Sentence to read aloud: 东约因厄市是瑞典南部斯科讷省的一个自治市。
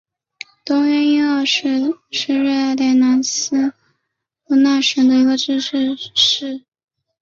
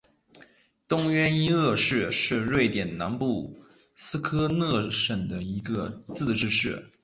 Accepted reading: second